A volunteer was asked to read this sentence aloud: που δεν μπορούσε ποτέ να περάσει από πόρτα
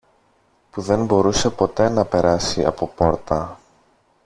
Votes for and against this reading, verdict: 2, 0, accepted